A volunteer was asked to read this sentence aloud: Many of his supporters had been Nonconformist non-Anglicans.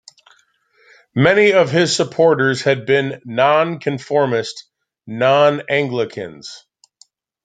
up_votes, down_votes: 0, 2